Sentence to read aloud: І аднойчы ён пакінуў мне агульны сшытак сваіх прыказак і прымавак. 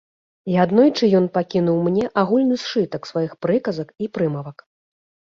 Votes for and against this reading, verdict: 0, 2, rejected